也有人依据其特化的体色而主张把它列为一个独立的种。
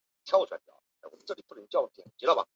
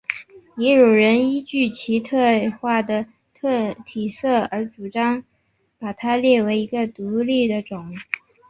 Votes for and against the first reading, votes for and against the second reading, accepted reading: 1, 5, 3, 1, second